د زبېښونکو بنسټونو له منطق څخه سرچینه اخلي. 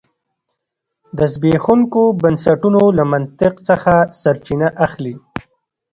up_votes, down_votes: 2, 0